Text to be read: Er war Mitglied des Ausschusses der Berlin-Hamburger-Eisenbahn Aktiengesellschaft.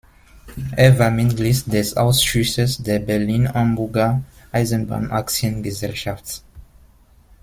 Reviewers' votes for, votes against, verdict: 1, 2, rejected